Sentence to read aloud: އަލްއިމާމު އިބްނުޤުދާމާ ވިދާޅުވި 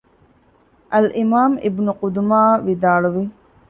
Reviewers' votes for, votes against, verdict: 1, 2, rejected